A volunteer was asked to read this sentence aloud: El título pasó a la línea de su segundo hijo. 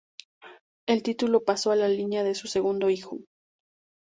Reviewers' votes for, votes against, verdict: 4, 0, accepted